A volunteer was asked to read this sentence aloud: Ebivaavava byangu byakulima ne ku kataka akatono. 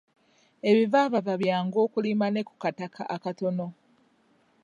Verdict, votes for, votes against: rejected, 1, 2